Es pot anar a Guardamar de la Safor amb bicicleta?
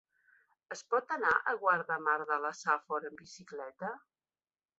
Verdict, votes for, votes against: rejected, 1, 2